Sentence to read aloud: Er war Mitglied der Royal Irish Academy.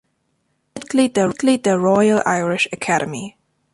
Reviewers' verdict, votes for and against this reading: rejected, 0, 2